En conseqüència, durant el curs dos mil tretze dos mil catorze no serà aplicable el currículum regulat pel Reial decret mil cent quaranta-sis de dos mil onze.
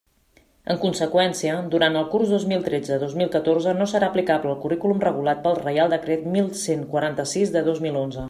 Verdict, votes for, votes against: accepted, 2, 0